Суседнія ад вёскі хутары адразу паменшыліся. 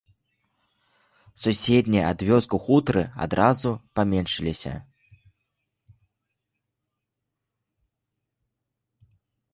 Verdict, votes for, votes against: rejected, 0, 2